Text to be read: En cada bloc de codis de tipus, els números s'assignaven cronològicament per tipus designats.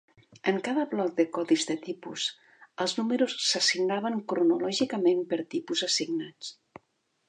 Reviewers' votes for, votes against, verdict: 0, 2, rejected